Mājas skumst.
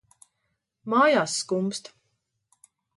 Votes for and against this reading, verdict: 1, 2, rejected